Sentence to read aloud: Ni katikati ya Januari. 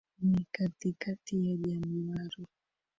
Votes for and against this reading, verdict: 0, 2, rejected